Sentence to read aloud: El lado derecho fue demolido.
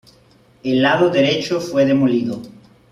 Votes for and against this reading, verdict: 2, 0, accepted